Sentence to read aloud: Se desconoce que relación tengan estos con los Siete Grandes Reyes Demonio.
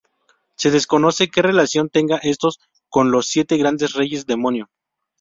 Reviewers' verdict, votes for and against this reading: rejected, 0, 2